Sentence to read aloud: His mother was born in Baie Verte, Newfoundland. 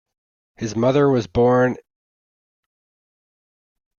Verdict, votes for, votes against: rejected, 0, 3